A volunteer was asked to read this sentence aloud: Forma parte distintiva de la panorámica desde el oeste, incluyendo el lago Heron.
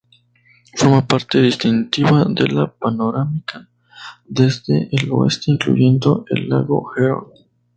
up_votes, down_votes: 0, 2